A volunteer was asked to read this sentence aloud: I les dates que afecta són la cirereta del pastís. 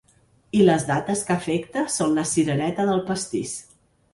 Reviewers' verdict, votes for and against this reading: accepted, 3, 0